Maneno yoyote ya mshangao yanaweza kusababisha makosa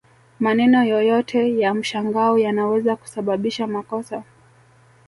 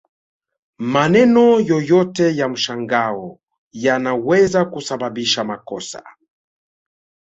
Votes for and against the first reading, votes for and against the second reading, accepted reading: 1, 2, 2, 0, second